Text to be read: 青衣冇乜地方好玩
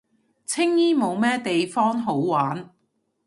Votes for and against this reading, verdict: 1, 2, rejected